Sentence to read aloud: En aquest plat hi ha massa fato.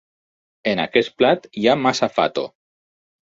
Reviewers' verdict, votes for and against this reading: accepted, 6, 2